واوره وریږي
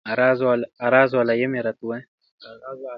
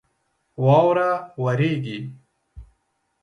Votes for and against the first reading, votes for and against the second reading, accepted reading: 0, 2, 2, 0, second